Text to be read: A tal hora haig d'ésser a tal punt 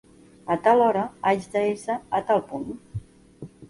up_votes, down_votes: 0, 2